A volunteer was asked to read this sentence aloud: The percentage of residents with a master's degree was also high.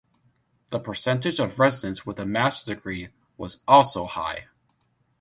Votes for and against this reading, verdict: 2, 1, accepted